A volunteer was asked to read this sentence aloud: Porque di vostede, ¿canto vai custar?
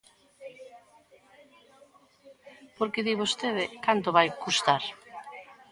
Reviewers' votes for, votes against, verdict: 2, 0, accepted